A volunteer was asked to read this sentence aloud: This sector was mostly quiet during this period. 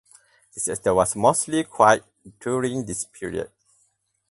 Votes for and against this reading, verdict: 2, 4, rejected